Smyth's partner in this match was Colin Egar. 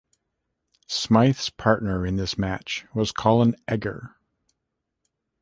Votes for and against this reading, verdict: 1, 2, rejected